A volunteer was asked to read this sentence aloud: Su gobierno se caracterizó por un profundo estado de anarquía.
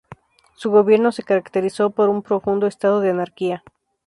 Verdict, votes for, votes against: accepted, 2, 0